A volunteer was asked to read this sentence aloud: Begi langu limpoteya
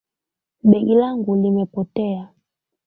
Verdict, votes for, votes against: rejected, 1, 2